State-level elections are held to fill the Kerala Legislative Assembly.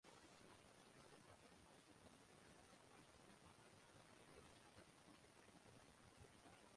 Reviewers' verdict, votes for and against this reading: rejected, 0, 2